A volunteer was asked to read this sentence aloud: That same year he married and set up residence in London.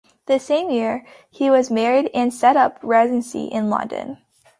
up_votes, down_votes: 0, 2